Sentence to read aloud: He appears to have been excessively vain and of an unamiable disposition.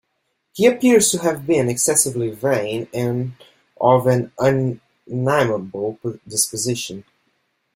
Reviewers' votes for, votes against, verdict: 2, 0, accepted